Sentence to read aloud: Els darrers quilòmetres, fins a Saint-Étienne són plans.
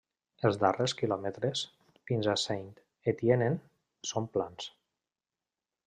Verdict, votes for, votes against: rejected, 1, 2